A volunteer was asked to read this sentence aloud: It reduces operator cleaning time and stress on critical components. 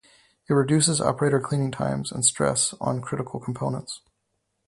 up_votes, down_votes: 2, 0